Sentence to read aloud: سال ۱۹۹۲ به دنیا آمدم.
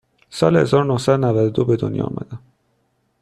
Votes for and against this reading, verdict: 0, 2, rejected